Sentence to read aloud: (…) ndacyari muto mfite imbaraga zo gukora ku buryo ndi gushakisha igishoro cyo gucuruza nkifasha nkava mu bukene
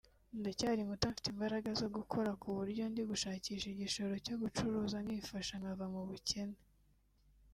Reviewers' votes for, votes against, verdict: 1, 2, rejected